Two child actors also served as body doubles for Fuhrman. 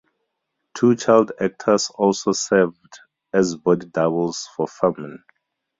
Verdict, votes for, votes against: accepted, 2, 0